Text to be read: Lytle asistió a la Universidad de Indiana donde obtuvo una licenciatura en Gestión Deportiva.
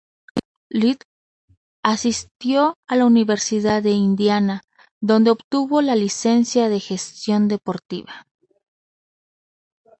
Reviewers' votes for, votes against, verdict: 0, 2, rejected